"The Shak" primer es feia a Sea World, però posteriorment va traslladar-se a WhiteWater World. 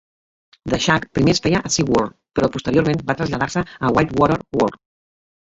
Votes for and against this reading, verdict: 0, 2, rejected